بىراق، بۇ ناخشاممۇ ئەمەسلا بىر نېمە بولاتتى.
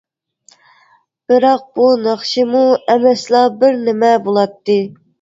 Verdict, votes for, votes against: rejected, 0, 2